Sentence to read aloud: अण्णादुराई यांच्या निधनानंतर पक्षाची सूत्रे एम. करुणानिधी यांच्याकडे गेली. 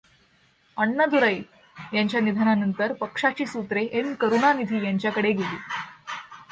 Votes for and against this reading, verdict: 2, 0, accepted